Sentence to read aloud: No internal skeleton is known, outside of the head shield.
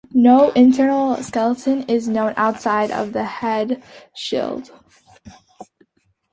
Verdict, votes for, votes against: accepted, 2, 0